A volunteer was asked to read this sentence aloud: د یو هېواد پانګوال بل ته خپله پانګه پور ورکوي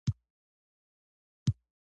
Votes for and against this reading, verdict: 1, 2, rejected